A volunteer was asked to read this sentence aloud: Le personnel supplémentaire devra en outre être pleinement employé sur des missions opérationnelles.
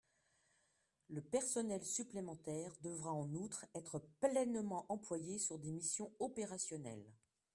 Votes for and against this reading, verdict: 0, 2, rejected